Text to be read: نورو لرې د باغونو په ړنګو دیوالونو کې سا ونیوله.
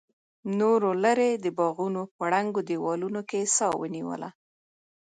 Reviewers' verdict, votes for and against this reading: accepted, 2, 0